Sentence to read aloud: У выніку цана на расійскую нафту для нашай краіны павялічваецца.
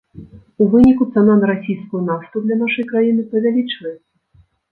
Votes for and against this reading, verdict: 1, 2, rejected